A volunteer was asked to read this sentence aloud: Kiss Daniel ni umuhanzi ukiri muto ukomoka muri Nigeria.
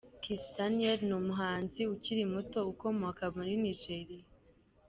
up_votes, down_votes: 2, 0